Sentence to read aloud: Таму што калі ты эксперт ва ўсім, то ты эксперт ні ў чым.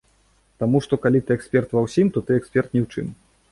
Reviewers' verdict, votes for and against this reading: accepted, 2, 0